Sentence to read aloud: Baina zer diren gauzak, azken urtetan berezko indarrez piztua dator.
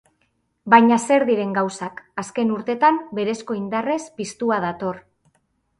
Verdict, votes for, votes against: accepted, 2, 0